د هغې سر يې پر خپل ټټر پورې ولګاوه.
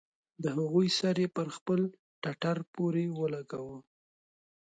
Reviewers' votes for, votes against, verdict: 0, 2, rejected